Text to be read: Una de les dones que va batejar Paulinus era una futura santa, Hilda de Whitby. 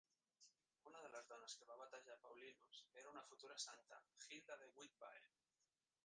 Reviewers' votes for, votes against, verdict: 0, 2, rejected